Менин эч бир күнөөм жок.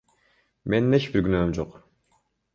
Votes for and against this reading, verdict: 1, 2, rejected